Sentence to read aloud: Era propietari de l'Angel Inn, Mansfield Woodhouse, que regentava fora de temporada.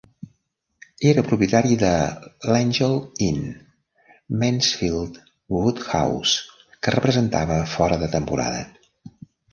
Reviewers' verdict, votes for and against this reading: rejected, 0, 2